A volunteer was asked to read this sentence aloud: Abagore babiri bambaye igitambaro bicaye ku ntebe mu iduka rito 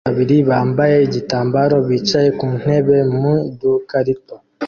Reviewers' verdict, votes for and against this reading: rejected, 0, 2